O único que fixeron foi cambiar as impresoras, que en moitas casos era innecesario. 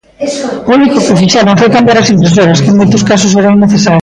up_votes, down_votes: 0, 2